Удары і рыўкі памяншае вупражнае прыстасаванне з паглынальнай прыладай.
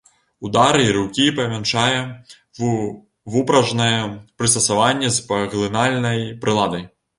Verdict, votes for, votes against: rejected, 0, 2